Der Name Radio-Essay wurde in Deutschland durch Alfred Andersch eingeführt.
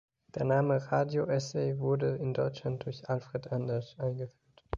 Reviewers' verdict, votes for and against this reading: rejected, 0, 2